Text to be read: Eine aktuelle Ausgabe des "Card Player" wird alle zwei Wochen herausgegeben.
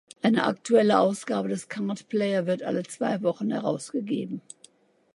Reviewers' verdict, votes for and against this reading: rejected, 1, 2